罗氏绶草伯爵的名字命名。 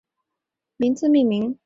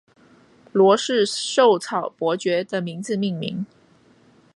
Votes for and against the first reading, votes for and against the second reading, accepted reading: 2, 3, 3, 0, second